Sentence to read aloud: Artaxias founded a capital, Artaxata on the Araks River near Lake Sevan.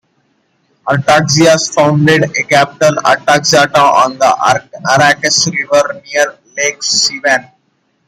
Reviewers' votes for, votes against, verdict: 2, 1, accepted